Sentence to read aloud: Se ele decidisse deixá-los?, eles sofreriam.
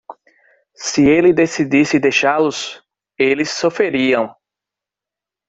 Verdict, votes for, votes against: accepted, 2, 0